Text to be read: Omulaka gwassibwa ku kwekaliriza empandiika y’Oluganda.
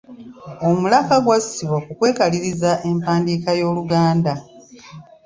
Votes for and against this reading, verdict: 1, 2, rejected